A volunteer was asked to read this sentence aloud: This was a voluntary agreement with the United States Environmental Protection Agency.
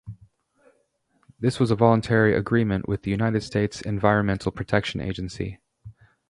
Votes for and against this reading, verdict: 4, 0, accepted